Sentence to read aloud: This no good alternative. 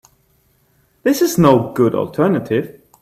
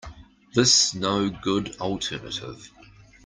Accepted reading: second